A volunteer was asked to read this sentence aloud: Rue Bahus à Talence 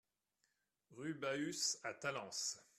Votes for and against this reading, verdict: 2, 1, accepted